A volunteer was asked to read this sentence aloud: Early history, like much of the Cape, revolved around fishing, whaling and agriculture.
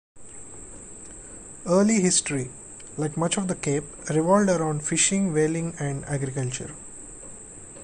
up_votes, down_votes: 1, 2